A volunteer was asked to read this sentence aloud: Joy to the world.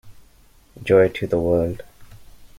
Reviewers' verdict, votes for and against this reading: accepted, 2, 0